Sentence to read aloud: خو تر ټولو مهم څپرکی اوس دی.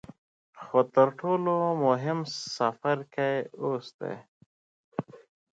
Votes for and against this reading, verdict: 2, 0, accepted